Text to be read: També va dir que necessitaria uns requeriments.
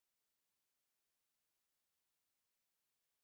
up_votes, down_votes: 0, 2